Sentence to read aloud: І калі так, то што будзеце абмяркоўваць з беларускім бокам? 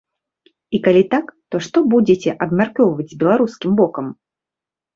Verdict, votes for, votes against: accepted, 2, 0